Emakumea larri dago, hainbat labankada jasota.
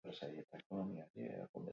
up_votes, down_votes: 0, 4